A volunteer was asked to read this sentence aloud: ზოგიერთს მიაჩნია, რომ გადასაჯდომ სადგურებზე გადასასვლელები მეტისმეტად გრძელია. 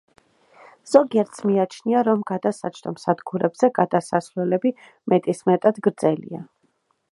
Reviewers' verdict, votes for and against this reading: accepted, 2, 0